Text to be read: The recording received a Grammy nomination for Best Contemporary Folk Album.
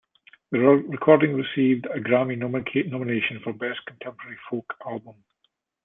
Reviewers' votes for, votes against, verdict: 1, 2, rejected